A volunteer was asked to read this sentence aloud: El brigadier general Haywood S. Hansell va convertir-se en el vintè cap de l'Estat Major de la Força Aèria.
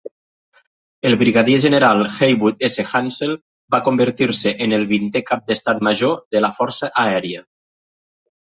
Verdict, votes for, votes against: rejected, 0, 2